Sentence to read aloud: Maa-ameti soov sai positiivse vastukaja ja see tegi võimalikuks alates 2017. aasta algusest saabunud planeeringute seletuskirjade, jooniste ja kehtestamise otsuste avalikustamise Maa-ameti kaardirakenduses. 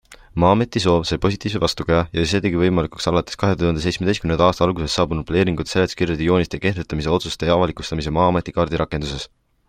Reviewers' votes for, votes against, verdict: 0, 2, rejected